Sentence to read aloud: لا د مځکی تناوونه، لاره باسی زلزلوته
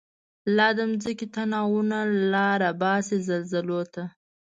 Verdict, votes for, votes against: accepted, 2, 0